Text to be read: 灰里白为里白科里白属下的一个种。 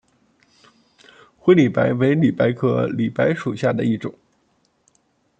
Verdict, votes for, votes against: rejected, 1, 2